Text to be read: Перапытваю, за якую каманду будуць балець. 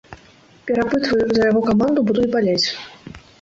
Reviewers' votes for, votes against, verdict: 1, 2, rejected